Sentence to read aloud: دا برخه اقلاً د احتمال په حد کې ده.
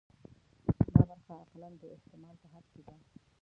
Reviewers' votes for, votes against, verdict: 1, 2, rejected